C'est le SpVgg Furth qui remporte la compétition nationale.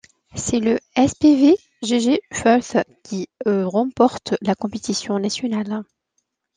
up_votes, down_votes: 2, 0